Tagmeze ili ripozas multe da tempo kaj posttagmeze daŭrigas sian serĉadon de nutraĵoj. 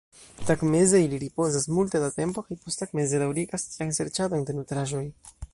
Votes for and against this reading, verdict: 1, 2, rejected